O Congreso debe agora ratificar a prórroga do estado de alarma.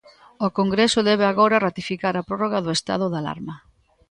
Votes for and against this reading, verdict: 2, 0, accepted